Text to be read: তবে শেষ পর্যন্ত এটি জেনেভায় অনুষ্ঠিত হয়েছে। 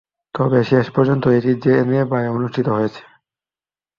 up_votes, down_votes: 0, 2